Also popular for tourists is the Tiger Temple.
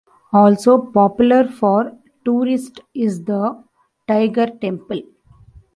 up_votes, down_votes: 1, 2